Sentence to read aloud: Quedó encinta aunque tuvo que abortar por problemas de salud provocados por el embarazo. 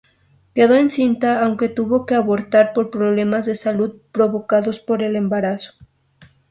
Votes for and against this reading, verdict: 2, 2, rejected